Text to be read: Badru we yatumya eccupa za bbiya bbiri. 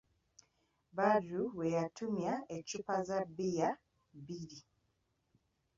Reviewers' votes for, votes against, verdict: 2, 0, accepted